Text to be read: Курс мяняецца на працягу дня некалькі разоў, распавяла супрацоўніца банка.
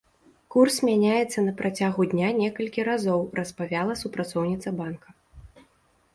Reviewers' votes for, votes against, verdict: 0, 2, rejected